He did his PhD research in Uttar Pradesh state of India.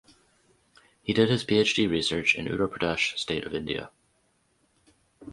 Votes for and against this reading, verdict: 0, 2, rejected